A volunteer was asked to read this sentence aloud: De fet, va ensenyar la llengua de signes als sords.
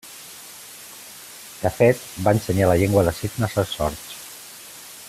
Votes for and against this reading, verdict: 2, 0, accepted